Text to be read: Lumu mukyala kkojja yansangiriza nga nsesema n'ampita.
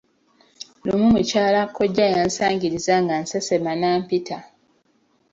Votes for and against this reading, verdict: 2, 0, accepted